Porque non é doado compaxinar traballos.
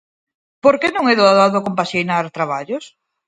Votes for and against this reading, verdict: 0, 4, rejected